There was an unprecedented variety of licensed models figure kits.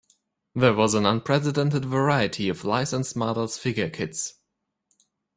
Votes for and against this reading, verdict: 1, 2, rejected